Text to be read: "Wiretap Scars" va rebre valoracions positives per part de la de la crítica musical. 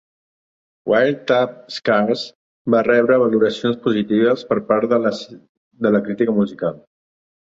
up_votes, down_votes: 1, 2